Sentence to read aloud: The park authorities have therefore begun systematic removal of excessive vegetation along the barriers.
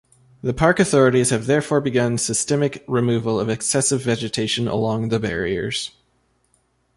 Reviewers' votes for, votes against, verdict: 1, 2, rejected